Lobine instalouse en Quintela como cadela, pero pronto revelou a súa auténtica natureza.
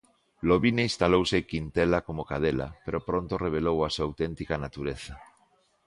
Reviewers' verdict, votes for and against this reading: accepted, 2, 1